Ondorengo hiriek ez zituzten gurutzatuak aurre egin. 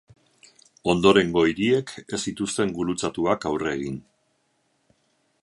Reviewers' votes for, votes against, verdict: 4, 0, accepted